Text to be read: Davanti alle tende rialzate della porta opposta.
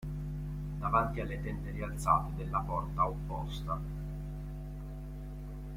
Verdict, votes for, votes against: accepted, 2, 1